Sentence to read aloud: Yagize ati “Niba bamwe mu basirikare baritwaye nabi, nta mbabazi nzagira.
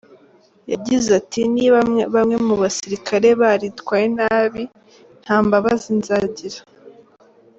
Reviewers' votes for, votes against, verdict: 1, 2, rejected